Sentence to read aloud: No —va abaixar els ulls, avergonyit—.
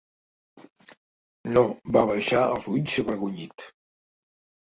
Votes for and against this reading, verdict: 2, 0, accepted